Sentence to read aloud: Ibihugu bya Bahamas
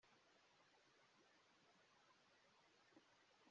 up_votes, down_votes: 0, 3